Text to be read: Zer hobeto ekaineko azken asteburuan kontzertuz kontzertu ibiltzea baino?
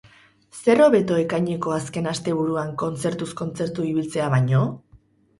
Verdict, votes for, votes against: accepted, 8, 0